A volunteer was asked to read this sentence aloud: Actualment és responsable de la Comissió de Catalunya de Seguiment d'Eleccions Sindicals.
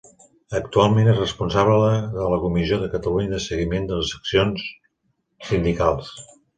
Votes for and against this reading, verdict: 1, 2, rejected